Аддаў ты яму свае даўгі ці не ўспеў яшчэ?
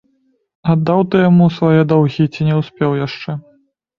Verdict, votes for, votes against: accepted, 2, 0